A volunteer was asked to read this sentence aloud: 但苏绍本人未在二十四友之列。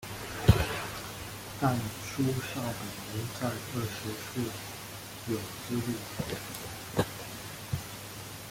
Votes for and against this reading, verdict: 0, 2, rejected